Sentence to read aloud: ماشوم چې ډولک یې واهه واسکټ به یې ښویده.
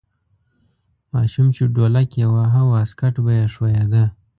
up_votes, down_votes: 2, 1